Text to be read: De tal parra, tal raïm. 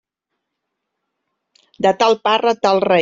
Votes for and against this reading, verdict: 0, 2, rejected